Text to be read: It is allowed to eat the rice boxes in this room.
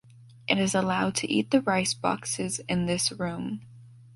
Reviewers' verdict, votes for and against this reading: rejected, 1, 2